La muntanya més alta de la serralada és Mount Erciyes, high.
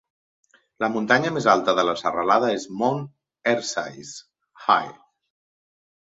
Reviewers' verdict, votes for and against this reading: accepted, 2, 0